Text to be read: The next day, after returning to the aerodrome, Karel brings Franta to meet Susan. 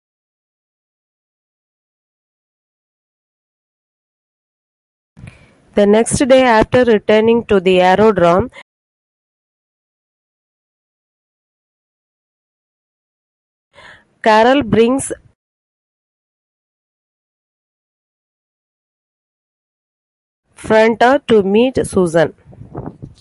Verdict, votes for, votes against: accepted, 2, 1